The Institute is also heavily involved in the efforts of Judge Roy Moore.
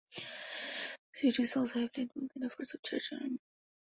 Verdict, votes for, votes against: rejected, 1, 2